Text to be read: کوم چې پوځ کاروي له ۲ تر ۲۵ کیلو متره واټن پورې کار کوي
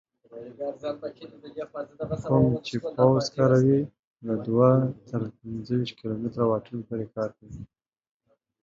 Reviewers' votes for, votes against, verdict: 0, 2, rejected